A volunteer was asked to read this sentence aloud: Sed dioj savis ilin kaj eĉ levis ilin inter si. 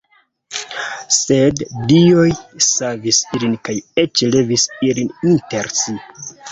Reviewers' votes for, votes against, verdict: 2, 0, accepted